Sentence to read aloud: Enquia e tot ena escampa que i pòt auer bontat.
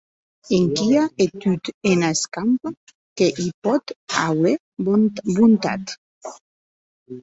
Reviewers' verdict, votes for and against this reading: rejected, 0, 2